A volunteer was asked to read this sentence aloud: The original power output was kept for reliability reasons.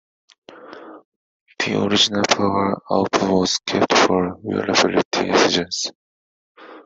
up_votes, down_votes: 0, 2